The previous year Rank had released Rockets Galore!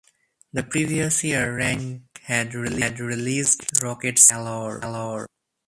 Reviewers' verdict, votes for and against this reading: rejected, 0, 4